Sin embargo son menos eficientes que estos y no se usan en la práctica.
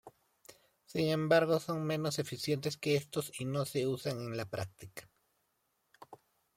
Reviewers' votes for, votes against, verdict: 2, 1, accepted